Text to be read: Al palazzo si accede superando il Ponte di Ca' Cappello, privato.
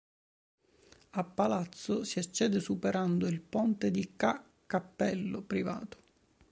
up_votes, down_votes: 3, 0